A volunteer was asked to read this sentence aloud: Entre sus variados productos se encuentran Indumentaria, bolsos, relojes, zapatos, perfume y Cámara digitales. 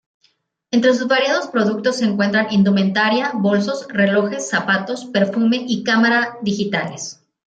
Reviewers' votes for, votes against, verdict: 2, 0, accepted